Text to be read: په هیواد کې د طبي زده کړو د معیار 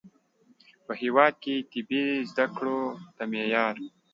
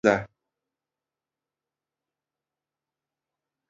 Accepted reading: first